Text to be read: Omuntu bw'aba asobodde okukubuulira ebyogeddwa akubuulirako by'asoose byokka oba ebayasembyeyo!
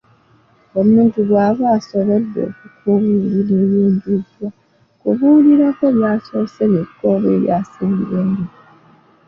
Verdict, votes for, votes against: rejected, 1, 2